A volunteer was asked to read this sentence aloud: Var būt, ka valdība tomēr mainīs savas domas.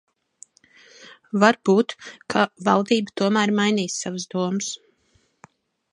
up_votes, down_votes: 2, 0